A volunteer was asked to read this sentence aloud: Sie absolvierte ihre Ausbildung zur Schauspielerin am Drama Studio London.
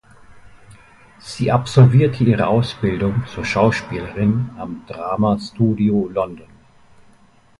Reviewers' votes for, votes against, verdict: 2, 0, accepted